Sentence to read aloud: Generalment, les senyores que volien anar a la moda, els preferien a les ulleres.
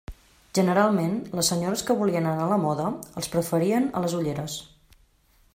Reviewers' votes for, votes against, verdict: 3, 0, accepted